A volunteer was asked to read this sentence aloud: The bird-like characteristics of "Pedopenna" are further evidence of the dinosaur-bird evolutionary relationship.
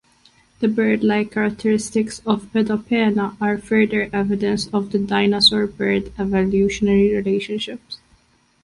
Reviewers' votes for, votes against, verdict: 1, 2, rejected